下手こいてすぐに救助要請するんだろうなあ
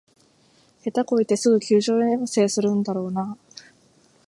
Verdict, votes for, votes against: rejected, 1, 2